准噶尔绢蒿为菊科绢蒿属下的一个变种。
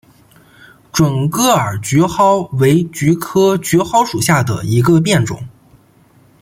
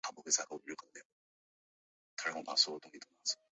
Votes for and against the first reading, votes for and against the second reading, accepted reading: 2, 1, 1, 3, first